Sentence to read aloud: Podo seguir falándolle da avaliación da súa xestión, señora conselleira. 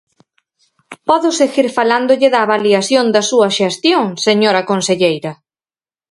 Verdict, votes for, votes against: accepted, 4, 0